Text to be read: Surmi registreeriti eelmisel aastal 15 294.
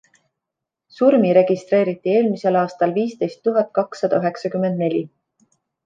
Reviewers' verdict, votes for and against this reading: rejected, 0, 2